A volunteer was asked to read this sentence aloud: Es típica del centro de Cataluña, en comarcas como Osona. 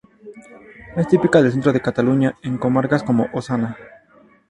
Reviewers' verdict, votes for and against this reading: rejected, 0, 2